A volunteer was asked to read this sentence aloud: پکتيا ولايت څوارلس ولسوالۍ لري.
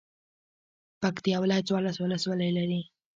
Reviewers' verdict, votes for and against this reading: rejected, 0, 2